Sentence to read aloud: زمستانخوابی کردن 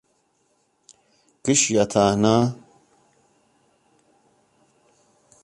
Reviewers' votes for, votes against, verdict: 0, 2, rejected